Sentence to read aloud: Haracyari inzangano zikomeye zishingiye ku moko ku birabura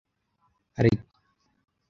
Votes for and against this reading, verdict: 0, 2, rejected